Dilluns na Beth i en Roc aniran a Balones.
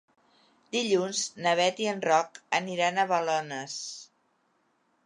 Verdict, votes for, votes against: accepted, 3, 0